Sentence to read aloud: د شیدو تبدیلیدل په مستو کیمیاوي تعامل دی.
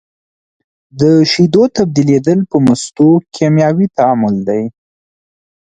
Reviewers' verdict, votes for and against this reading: accepted, 2, 0